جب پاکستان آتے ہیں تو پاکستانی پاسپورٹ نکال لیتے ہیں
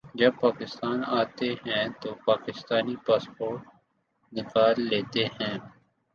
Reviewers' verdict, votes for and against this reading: accepted, 2, 0